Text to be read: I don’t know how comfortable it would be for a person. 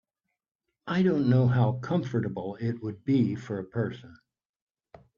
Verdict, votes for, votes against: accepted, 4, 0